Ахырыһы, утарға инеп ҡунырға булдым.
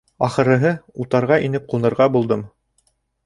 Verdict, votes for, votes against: accepted, 2, 0